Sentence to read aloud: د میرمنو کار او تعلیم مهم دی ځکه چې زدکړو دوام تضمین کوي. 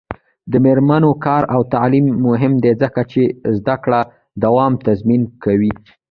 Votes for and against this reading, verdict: 1, 2, rejected